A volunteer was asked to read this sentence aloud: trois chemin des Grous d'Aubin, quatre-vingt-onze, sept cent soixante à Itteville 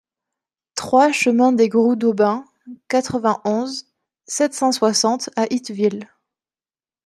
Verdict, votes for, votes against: accepted, 2, 0